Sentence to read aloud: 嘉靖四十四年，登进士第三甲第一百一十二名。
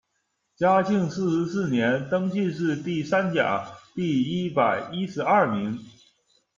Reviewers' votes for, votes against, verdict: 2, 0, accepted